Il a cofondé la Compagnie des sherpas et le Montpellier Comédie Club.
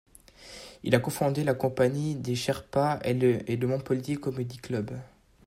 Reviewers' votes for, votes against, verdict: 1, 2, rejected